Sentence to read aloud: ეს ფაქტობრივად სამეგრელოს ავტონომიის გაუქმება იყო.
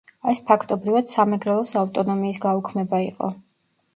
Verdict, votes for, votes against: rejected, 1, 2